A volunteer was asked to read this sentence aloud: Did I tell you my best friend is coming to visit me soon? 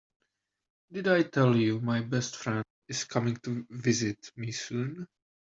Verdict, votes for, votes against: accepted, 2, 1